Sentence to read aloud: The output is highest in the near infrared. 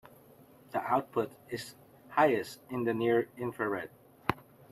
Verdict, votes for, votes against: rejected, 1, 2